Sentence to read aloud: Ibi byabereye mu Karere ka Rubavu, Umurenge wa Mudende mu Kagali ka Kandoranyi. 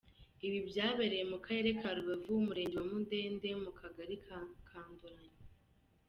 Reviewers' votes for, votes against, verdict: 1, 2, rejected